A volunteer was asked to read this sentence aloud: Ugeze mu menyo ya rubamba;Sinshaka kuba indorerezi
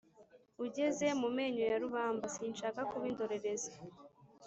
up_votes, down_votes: 2, 0